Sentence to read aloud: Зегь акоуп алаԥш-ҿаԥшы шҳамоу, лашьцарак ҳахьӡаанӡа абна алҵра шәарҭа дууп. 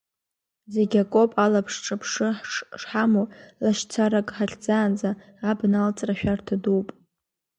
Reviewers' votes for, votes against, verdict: 0, 2, rejected